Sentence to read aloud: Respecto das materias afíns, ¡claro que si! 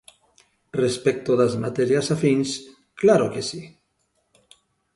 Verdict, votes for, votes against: accepted, 2, 0